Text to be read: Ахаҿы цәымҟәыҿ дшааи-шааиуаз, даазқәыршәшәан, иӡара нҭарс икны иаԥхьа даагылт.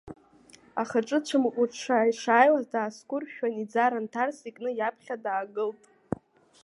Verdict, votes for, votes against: rejected, 0, 2